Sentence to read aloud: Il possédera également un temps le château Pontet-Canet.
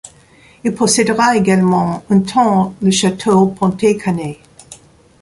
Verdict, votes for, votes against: rejected, 0, 2